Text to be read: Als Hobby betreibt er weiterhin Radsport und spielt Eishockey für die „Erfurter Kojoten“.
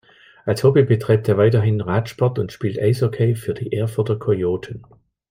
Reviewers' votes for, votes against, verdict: 2, 0, accepted